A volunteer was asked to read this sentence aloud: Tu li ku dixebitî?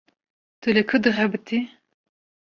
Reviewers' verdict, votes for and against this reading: accepted, 2, 0